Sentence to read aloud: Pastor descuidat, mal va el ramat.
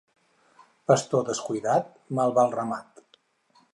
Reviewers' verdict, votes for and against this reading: accepted, 4, 0